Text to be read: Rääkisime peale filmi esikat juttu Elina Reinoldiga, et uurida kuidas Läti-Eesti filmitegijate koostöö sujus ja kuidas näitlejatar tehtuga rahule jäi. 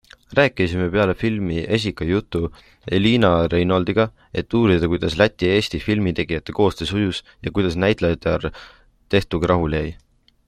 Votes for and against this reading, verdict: 2, 0, accepted